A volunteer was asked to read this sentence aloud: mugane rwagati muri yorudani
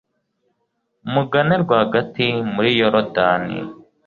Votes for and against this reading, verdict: 2, 0, accepted